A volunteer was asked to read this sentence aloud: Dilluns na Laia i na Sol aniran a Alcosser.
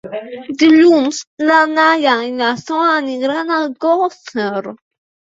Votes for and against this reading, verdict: 1, 2, rejected